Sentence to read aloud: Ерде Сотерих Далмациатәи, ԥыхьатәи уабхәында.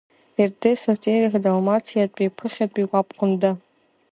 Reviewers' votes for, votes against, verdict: 2, 1, accepted